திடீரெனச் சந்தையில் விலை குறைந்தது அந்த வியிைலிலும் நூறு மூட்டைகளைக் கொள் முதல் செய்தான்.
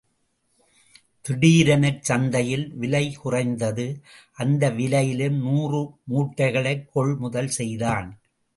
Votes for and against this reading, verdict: 2, 0, accepted